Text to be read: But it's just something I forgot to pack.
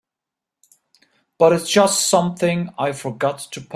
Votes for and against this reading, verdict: 0, 2, rejected